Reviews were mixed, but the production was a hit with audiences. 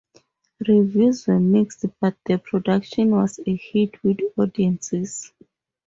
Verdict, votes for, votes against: accepted, 4, 0